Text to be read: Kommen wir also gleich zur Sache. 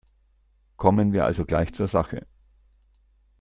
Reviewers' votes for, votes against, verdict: 2, 0, accepted